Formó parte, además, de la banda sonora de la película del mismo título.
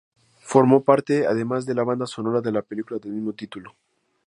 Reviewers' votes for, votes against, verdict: 2, 2, rejected